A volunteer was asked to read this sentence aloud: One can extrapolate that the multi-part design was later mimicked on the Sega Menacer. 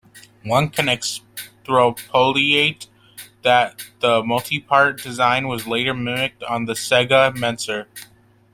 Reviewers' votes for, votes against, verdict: 0, 2, rejected